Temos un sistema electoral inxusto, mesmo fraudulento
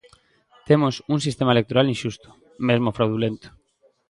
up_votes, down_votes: 2, 0